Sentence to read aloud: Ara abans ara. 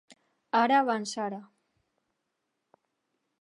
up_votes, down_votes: 2, 0